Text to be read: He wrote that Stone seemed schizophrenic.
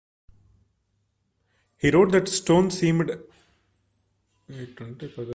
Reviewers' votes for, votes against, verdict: 0, 2, rejected